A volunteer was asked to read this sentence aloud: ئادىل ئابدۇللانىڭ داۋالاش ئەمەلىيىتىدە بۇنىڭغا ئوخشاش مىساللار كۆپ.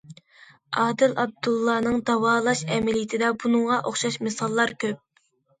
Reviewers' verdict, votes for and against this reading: accepted, 2, 0